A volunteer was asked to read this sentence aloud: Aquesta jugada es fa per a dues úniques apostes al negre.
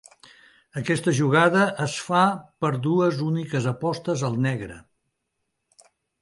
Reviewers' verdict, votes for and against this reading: rejected, 2, 3